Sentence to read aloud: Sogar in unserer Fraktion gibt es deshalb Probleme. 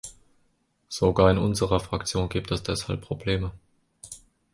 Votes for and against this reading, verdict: 2, 0, accepted